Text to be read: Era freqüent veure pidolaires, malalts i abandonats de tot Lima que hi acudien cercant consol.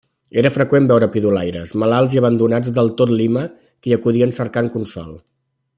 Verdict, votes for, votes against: rejected, 1, 2